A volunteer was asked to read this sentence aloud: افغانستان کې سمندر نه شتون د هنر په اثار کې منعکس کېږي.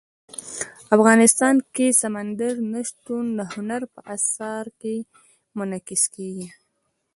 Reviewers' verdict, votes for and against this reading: rejected, 1, 3